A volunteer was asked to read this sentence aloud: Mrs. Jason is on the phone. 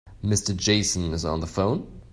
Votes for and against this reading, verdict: 1, 2, rejected